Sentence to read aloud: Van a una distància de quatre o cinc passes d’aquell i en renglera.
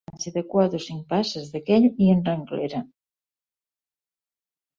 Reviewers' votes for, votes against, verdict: 0, 3, rejected